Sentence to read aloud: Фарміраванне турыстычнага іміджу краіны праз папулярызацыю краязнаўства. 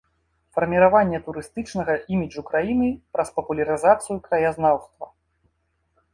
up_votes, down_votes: 2, 0